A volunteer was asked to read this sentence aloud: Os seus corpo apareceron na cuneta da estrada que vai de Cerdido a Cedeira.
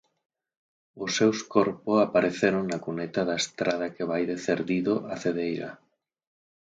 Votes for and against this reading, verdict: 4, 0, accepted